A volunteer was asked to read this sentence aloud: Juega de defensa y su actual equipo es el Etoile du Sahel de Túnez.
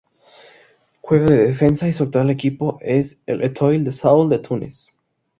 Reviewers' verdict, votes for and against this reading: accepted, 2, 0